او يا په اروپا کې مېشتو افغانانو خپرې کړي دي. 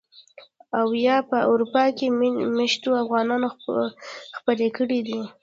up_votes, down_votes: 1, 2